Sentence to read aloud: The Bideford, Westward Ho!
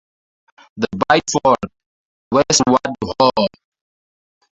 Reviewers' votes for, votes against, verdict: 0, 2, rejected